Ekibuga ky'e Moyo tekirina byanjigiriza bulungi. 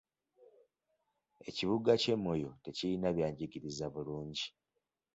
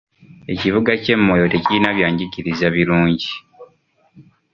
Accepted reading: first